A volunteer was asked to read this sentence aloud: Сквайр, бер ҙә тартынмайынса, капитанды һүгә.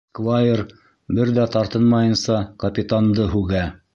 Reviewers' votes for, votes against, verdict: 0, 2, rejected